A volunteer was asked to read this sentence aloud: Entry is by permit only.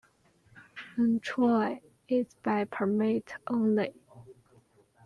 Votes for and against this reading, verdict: 0, 2, rejected